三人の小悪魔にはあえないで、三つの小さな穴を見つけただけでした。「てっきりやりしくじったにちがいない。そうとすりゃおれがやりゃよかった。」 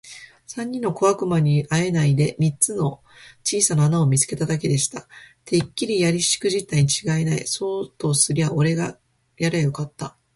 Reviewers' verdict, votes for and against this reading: accepted, 4, 0